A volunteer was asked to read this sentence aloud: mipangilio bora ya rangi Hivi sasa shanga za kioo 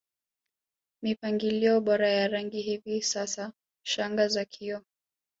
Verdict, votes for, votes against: accepted, 2, 1